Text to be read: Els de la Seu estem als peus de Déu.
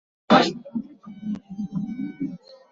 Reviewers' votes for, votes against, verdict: 0, 2, rejected